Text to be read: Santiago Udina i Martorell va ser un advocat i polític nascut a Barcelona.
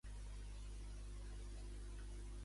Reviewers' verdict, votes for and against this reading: rejected, 0, 2